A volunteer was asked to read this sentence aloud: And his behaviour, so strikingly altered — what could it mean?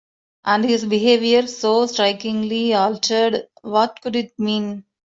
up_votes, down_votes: 2, 0